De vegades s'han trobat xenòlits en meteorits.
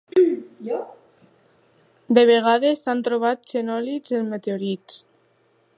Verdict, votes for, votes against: accepted, 3, 0